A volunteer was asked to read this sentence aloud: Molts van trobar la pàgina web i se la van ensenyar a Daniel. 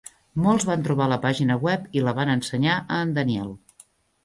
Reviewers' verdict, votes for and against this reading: rejected, 0, 2